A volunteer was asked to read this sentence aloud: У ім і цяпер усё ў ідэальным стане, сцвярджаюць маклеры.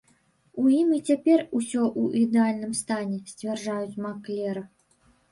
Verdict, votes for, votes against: rejected, 0, 2